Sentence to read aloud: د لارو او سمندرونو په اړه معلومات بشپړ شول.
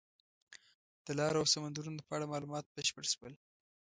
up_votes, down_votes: 1, 2